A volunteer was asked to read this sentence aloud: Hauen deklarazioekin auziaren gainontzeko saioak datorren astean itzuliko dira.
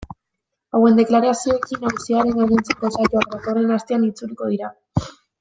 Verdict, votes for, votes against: rejected, 0, 2